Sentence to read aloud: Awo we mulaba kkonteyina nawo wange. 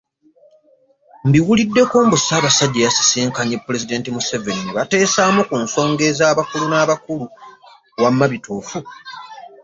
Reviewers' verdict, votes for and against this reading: rejected, 1, 2